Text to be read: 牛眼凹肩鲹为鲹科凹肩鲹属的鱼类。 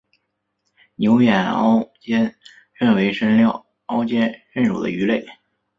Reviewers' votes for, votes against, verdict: 4, 1, accepted